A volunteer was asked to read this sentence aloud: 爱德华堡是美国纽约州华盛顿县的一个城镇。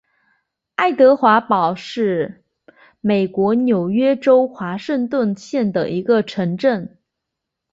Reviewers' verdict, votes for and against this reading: accepted, 3, 0